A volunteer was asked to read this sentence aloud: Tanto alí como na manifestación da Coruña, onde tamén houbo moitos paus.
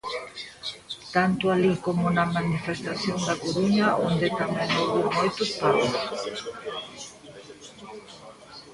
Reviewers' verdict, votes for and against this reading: accepted, 2, 1